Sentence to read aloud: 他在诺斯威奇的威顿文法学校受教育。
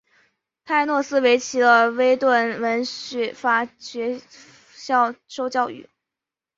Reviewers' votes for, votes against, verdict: 3, 1, accepted